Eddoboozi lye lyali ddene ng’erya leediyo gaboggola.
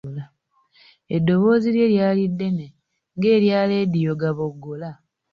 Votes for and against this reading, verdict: 2, 1, accepted